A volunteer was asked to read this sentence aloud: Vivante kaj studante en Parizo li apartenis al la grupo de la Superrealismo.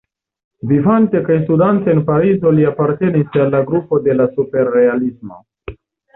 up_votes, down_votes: 2, 0